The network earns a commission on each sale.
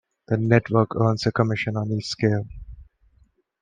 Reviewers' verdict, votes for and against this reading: rejected, 1, 2